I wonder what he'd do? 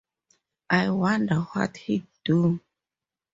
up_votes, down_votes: 4, 0